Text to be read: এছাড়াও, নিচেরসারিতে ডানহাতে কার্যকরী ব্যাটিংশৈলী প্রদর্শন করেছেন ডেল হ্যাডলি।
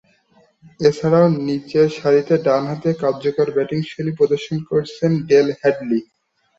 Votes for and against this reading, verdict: 2, 1, accepted